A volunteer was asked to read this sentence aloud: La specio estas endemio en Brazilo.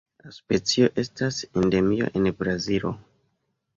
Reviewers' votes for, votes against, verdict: 2, 0, accepted